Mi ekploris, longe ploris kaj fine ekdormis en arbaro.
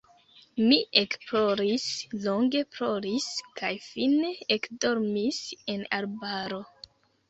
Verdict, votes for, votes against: accepted, 2, 1